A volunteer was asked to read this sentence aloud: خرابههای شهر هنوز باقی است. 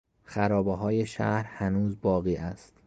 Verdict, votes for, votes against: accepted, 2, 0